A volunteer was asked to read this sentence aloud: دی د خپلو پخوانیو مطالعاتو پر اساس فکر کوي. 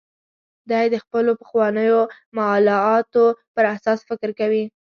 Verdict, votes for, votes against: rejected, 1, 2